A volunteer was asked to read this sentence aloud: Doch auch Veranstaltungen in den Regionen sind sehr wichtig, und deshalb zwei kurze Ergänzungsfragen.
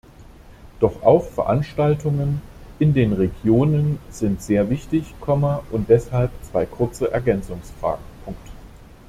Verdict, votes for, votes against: rejected, 1, 2